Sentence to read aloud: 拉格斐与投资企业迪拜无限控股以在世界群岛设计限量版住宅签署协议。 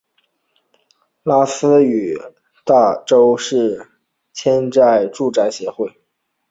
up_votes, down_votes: 0, 2